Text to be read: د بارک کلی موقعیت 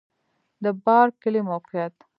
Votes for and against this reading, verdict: 3, 1, accepted